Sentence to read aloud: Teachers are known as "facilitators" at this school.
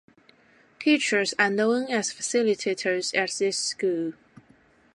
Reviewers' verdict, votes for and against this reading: accepted, 2, 0